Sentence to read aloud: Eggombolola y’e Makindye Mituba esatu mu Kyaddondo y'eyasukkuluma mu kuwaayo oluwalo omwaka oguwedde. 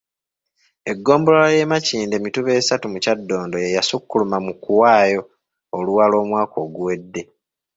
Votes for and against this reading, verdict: 2, 0, accepted